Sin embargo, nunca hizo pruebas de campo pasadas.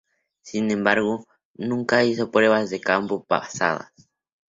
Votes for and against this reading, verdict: 2, 0, accepted